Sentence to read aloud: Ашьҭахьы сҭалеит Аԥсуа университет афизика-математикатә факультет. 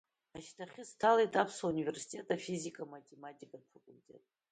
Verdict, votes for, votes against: rejected, 0, 2